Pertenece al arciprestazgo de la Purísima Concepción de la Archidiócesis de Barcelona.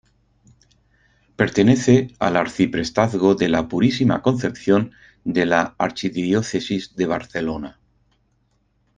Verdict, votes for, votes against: accepted, 4, 0